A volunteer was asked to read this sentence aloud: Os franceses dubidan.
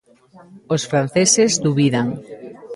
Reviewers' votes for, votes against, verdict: 1, 2, rejected